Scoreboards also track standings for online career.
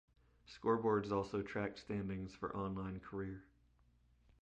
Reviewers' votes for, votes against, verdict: 2, 0, accepted